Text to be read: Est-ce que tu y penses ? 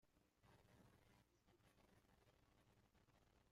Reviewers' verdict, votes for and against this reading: rejected, 0, 2